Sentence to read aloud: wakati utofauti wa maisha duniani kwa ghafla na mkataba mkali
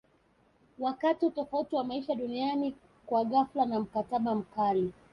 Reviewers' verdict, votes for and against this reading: accepted, 2, 1